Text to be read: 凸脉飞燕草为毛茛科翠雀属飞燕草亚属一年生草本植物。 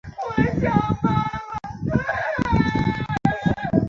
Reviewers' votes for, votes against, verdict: 0, 2, rejected